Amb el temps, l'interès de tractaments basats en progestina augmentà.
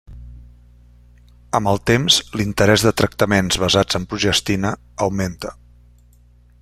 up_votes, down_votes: 1, 2